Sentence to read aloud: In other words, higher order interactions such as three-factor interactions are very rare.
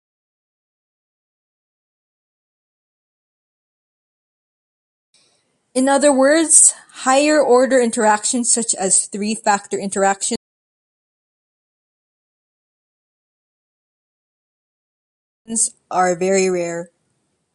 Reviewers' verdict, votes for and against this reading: rejected, 1, 2